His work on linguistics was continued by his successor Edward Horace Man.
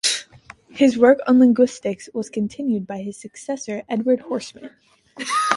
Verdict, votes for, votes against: accepted, 2, 1